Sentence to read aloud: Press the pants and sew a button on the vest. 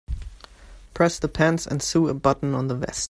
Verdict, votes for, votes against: rejected, 0, 2